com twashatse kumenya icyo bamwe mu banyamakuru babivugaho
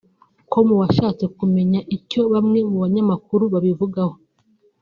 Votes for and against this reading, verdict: 1, 2, rejected